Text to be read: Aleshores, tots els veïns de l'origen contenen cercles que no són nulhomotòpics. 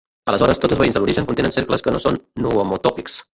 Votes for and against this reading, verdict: 0, 2, rejected